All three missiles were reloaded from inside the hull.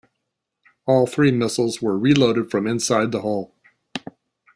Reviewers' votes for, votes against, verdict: 1, 2, rejected